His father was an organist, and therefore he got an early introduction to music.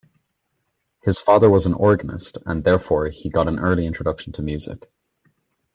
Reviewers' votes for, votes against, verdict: 2, 0, accepted